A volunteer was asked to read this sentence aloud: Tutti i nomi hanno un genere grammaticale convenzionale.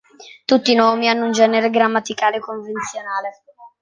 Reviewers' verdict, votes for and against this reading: accepted, 2, 0